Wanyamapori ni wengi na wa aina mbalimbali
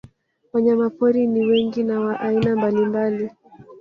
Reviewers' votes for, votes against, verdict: 1, 2, rejected